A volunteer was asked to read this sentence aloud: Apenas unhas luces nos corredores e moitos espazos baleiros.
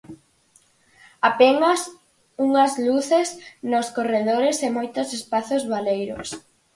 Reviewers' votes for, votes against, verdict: 4, 0, accepted